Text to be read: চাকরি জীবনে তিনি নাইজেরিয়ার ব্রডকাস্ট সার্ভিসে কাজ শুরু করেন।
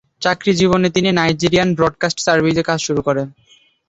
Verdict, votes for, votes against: rejected, 0, 2